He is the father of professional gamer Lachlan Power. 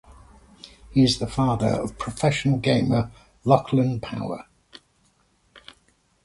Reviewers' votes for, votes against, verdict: 2, 0, accepted